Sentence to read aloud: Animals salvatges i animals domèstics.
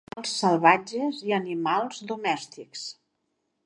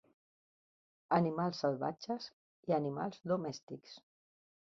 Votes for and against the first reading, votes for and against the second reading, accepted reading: 0, 2, 4, 0, second